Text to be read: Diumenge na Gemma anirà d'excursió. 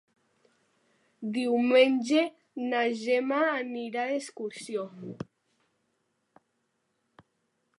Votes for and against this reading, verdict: 2, 0, accepted